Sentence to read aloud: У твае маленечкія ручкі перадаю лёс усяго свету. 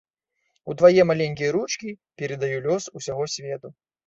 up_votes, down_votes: 1, 2